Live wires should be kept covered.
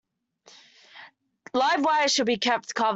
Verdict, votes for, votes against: rejected, 0, 2